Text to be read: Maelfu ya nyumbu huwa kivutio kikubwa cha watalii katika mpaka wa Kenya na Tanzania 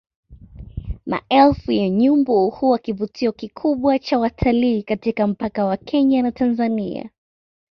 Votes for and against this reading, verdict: 2, 0, accepted